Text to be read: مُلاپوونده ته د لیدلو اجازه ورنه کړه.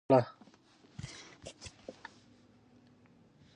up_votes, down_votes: 0, 2